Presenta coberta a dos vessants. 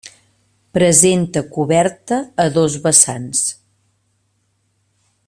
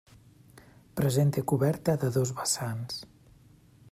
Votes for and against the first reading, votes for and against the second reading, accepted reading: 3, 0, 1, 2, first